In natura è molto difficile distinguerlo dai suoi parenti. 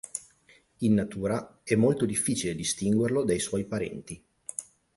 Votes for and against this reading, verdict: 9, 0, accepted